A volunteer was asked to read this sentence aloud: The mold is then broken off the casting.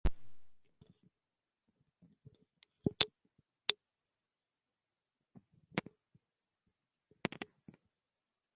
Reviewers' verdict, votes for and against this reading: rejected, 1, 2